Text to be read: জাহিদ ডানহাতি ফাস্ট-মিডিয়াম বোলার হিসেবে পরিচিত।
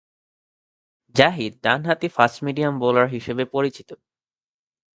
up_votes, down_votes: 2, 0